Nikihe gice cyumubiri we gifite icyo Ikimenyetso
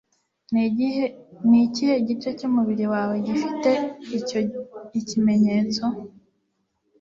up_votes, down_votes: 1, 2